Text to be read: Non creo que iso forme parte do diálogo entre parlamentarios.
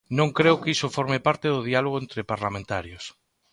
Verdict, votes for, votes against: accepted, 2, 0